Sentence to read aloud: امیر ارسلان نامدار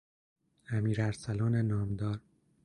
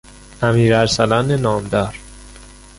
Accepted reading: first